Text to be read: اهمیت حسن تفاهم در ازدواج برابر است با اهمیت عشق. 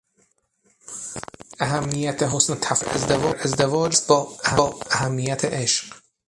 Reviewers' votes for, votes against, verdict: 0, 6, rejected